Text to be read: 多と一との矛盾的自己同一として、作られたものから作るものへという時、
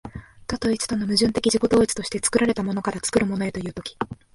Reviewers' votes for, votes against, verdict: 2, 0, accepted